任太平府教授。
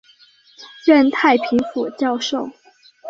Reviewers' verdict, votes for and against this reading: accepted, 3, 0